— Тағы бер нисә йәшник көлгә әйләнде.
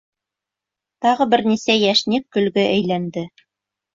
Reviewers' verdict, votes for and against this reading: accepted, 2, 0